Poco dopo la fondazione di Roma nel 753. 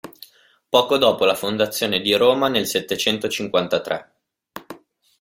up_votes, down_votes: 0, 2